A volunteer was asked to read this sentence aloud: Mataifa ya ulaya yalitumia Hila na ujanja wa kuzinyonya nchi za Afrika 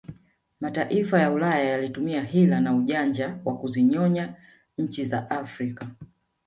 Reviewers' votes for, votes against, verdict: 0, 2, rejected